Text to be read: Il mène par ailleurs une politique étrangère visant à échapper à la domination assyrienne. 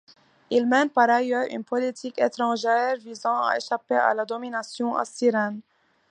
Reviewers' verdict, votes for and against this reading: rejected, 1, 2